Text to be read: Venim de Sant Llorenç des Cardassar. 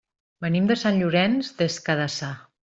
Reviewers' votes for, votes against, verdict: 1, 2, rejected